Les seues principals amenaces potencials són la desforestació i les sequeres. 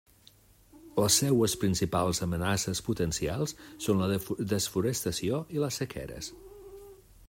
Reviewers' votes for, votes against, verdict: 0, 2, rejected